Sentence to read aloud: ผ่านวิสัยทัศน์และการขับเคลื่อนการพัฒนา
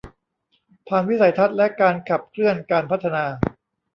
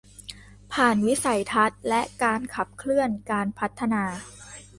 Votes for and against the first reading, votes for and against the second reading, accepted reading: 0, 2, 2, 0, second